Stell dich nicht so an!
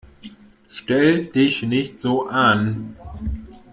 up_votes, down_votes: 2, 0